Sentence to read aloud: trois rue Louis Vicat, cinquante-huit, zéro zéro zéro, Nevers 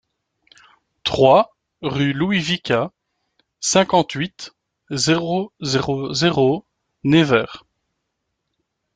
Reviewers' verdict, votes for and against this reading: rejected, 1, 2